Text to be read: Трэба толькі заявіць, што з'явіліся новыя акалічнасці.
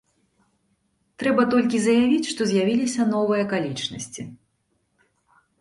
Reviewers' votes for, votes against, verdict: 2, 0, accepted